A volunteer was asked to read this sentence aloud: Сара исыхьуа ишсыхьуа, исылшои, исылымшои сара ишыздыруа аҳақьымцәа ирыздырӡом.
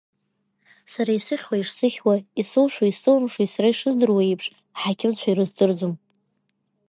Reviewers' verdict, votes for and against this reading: rejected, 1, 2